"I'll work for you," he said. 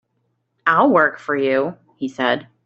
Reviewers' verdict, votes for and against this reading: accepted, 3, 0